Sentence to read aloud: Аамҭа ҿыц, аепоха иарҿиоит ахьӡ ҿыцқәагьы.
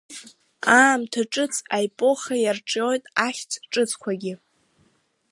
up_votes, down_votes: 0, 2